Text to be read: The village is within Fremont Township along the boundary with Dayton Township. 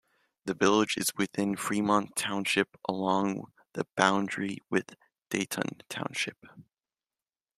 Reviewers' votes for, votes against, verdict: 2, 0, accepted